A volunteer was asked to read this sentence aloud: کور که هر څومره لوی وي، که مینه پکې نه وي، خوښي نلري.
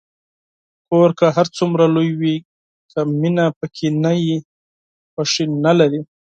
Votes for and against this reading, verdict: 10, 2, accepted